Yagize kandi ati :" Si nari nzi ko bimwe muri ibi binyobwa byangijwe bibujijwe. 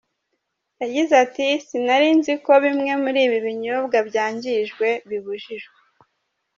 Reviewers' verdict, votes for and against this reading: rejected, 0, 2